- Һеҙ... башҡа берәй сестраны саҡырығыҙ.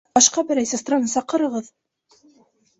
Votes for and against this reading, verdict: 0, 2, rejected